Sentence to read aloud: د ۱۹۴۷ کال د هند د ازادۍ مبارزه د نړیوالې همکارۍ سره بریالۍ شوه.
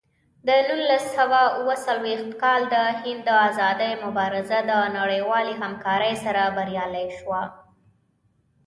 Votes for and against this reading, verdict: 0, 2, rejected